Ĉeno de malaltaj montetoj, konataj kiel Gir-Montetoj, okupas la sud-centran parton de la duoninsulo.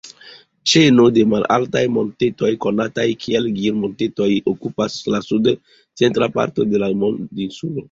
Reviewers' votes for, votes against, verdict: 0, 2, rejected